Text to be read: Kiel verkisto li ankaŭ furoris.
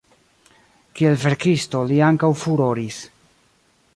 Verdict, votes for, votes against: accepted, 2, 0